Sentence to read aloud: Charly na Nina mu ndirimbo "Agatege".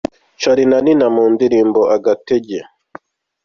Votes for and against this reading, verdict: 2, 0, accepted